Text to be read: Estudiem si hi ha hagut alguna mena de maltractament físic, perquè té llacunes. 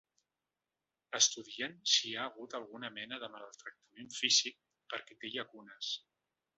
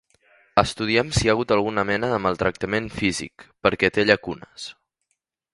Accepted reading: second